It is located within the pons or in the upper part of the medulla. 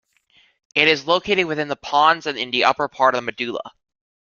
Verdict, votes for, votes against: rejected, 1, 2